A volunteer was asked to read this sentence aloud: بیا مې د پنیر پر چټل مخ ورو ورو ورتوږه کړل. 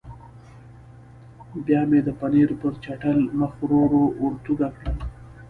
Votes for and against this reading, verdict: 0, 2, rejected